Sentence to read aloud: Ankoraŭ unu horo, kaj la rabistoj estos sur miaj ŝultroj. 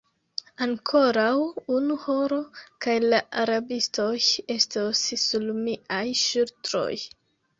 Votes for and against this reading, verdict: 0, 2, rejected